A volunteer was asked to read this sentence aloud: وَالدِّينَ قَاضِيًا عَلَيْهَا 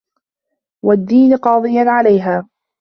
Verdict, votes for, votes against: accepted, 2, 1